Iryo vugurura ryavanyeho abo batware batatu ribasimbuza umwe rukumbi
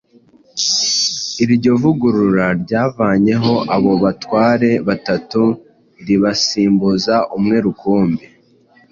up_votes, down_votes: 2, 0